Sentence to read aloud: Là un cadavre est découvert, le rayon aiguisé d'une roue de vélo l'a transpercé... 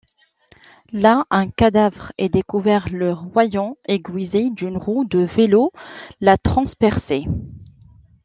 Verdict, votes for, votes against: rejected, 0, 2